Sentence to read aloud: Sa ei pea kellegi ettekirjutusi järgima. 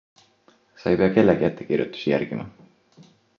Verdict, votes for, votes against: accepted, 2, 1